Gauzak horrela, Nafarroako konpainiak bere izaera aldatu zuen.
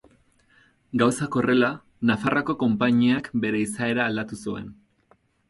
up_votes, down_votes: 4, 0